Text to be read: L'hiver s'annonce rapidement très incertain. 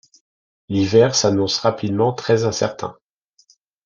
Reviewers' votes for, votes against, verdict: 2, 0, accepted